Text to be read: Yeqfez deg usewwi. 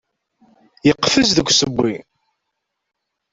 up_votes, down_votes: 2, 0